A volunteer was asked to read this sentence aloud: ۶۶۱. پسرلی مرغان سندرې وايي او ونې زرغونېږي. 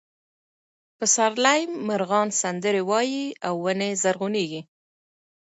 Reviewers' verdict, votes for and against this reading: rejected, 0, 2